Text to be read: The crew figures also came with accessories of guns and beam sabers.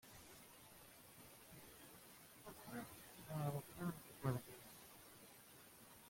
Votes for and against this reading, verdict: 0, 2, rejected